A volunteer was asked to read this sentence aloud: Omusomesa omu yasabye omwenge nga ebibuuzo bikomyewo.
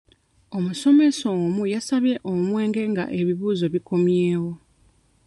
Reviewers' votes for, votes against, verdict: 2, 0, accepted